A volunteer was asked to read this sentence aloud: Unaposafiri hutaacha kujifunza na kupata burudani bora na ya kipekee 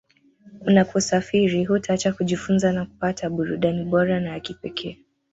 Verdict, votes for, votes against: rejected, 0, 2